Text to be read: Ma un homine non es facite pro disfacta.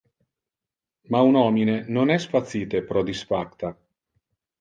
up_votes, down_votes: 0, 2